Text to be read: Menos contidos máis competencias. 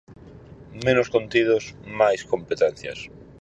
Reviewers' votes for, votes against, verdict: 4, 0, accepted